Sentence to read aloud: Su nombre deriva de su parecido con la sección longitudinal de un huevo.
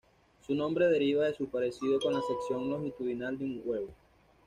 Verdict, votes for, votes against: accepted, 2, 0